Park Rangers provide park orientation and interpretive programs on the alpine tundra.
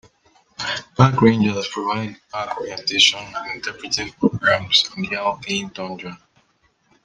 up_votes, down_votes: 1, 2